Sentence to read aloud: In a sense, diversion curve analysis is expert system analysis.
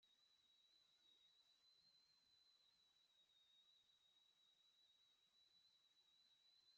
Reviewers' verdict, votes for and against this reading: rejected, 0, 2